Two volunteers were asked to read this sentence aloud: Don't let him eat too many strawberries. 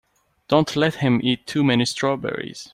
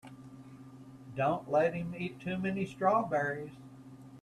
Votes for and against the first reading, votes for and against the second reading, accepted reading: 2, 0, 1, 2, first